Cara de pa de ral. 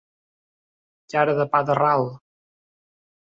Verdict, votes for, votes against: rejected, 0, 2